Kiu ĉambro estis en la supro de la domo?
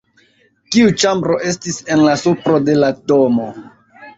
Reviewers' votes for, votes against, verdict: 1, 2, rejected